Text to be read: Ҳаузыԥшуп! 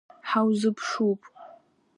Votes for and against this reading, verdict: 2, 0, accepted